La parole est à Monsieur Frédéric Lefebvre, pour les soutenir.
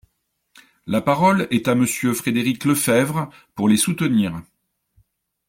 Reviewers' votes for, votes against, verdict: 2, 0, accepted